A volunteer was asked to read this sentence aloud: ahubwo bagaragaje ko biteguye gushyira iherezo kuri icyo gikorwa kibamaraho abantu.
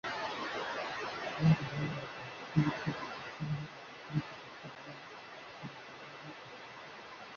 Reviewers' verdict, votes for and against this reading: rejected, 1, 2